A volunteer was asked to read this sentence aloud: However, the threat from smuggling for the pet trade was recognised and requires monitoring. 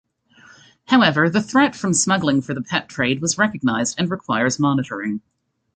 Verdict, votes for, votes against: accepted, 2, 0